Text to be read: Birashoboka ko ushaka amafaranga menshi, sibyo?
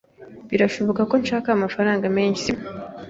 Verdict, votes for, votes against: rejected, 1, 2